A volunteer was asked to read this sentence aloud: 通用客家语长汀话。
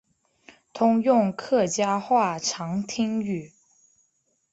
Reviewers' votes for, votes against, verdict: 1, 2, rejected